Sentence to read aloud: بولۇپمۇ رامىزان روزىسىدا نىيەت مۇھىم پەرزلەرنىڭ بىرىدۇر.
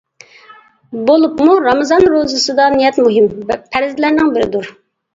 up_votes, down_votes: 2, 0